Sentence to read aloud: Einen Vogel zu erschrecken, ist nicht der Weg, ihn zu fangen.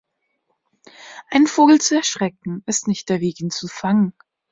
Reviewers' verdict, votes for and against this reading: accepted, 2, 0